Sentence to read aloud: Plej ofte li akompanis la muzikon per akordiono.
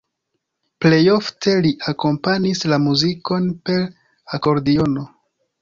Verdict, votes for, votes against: accepted, 2, 0